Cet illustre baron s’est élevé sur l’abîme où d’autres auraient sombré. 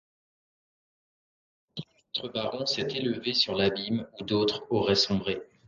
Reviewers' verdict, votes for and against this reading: rejected, 0, 2